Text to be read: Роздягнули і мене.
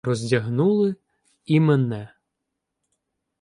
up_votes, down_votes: 2, 0